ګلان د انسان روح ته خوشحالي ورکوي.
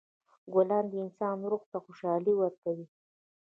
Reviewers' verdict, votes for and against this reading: rejected, 1, 2